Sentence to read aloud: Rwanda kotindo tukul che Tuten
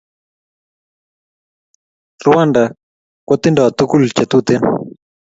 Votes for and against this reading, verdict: 2, 0, accepted